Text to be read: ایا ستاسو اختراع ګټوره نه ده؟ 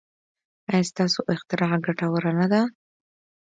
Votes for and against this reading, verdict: 2, 0, accepted